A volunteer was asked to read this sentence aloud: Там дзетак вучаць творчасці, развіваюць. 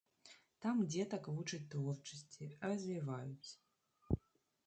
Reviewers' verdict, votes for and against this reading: rejected, 0, 2